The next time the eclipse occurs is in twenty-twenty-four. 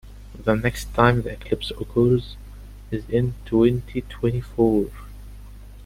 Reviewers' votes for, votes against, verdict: 2, 1, accepted